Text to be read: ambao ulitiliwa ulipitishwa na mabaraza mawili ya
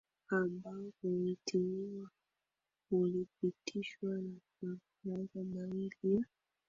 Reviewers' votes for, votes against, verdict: 0, 4, rejected